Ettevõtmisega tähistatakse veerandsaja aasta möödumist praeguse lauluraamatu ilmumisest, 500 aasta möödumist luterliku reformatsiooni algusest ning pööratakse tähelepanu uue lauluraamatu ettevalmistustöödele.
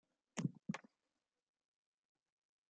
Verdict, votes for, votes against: rejected, 0, 2